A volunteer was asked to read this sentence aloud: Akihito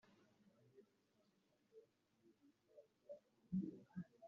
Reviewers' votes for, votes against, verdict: 0, 3, rejected